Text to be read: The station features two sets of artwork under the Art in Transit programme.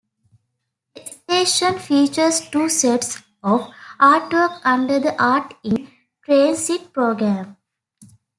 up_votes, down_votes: 0, 2